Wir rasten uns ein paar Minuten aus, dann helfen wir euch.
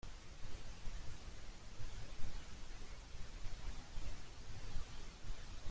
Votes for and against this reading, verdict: 0, 2, rejected